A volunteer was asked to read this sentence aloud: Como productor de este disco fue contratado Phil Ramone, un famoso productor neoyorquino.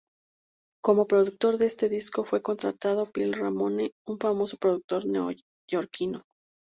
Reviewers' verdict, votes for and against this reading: accepted, 2, 0